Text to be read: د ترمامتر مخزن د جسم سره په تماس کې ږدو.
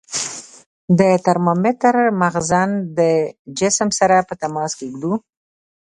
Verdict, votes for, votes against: rejected, 1, 2